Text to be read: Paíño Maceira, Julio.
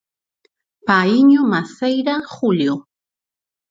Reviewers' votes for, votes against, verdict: 4, 0, accepted